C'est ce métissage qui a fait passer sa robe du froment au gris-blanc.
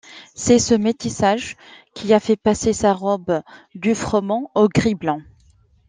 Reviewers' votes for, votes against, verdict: 2, 0, accepted